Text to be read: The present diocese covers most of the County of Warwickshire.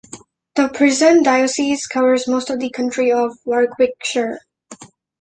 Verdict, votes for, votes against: rejected, 0, 2